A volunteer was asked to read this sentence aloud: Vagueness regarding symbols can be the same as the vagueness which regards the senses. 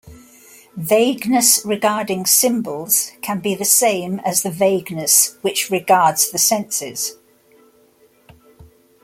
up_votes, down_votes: 2, 0